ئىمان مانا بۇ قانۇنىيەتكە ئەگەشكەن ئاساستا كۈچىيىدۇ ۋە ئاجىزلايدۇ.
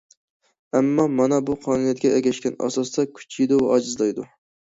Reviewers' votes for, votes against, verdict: 1, 2, rejected